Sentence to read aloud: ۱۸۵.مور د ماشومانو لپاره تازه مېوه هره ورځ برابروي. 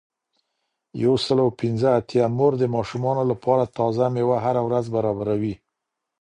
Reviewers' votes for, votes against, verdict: 0, 2, rejected